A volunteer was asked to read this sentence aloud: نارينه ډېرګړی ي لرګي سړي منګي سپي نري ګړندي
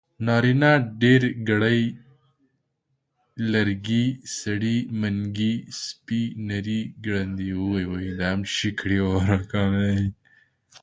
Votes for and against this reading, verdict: 0, 2, rejected